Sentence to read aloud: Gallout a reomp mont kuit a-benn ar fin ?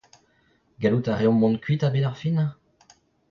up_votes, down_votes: 0, 2